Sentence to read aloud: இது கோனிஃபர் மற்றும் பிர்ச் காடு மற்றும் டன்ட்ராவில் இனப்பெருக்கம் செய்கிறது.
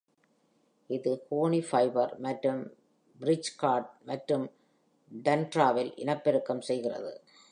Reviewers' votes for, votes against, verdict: 1, 2, rejected